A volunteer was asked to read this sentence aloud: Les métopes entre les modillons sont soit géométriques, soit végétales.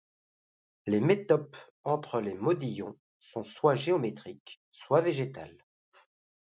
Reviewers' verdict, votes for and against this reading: accepted, 2, 0